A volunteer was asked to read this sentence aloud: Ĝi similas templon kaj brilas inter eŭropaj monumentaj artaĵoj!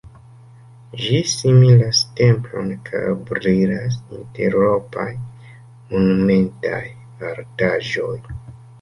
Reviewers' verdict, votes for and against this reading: rejected, 2, 3